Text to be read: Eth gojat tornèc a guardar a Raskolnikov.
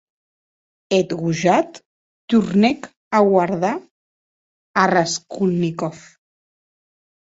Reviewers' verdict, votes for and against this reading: accepted, 2, 0